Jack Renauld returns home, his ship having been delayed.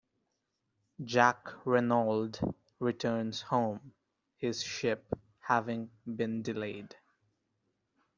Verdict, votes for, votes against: rejected, 1, 2